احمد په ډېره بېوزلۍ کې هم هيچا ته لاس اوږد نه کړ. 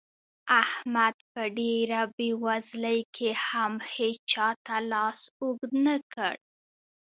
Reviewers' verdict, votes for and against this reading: rejected, 1, 2